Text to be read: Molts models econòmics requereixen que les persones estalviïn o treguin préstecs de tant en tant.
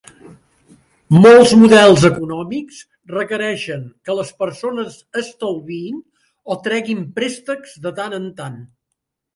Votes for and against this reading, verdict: 2, 0, accepted